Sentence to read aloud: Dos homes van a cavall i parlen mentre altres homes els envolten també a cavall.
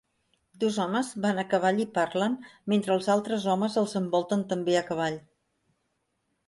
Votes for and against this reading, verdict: 1, 2, rejected